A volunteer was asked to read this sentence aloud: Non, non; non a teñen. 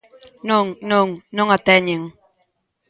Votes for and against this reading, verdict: 2, 0, accepted